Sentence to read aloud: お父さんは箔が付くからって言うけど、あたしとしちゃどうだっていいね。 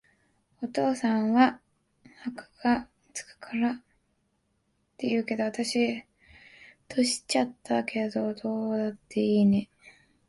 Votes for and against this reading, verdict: 0, 2, rejected